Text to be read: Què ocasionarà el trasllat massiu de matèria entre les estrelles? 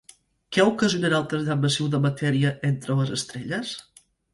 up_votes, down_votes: 4, 0